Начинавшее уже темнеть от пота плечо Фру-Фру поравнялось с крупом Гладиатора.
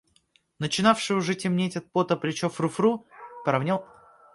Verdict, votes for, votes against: rejected, 0, 2